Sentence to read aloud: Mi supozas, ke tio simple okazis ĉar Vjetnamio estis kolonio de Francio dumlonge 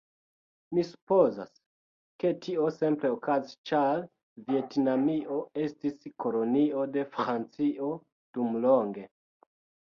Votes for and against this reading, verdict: 0, 2, rejected